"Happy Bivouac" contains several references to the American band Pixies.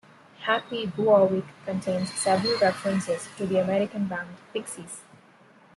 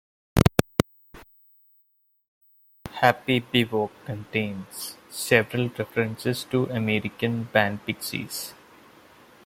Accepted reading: first